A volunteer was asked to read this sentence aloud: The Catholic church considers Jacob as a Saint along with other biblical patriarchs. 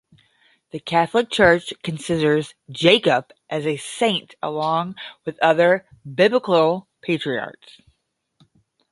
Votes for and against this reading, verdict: 5, 5, rejected